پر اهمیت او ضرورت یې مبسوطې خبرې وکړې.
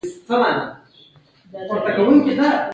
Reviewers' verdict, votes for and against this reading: rejected, 1, 2